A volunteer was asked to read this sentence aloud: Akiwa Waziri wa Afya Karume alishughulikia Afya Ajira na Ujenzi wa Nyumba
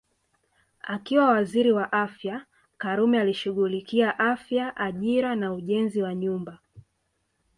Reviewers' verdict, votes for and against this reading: accepted, 2, 0